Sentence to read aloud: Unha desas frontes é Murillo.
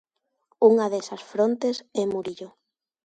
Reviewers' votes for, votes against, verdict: 2, 0, accepted